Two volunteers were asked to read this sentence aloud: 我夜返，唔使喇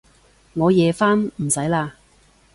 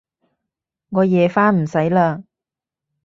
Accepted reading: first